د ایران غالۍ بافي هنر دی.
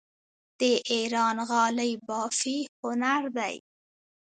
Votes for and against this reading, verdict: 1, 2, rejected